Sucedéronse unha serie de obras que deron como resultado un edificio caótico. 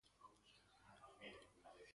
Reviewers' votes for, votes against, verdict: 0, 2, rejected